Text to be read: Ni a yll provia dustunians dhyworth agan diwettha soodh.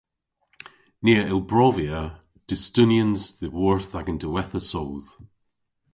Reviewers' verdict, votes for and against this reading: rejected, 0, 2